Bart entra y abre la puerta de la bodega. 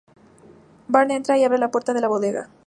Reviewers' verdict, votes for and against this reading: accepted, 4, 0